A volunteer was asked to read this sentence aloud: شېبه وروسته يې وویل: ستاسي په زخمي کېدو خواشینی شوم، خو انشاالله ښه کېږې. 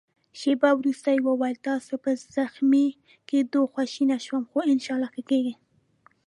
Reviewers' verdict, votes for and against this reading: accepted, 2, 0